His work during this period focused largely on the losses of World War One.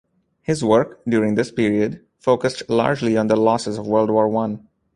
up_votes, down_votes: 2, 0